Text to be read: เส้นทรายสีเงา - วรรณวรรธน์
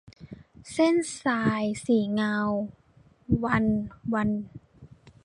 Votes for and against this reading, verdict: 2, 1, accepted